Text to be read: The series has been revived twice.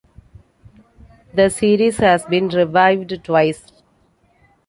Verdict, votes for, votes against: accepted, 2, 0